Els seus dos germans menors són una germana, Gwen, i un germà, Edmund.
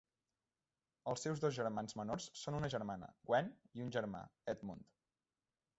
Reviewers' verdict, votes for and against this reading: rejected, 1, 2